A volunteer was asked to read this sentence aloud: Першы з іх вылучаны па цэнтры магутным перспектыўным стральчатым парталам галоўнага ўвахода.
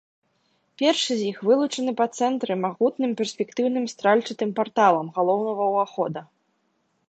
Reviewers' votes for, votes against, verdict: 2, 0, accepted